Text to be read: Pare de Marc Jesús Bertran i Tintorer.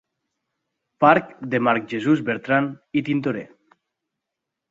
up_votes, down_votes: 1, 2